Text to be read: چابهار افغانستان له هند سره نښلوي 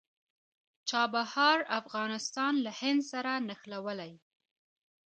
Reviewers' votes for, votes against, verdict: 2, 0, accepted